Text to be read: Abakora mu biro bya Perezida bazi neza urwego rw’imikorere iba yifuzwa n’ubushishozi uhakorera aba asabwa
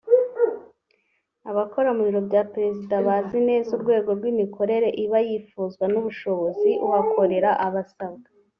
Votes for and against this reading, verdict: 2, 3, rejected